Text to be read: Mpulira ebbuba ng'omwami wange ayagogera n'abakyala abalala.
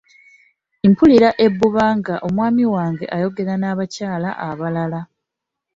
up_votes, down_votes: 2, 0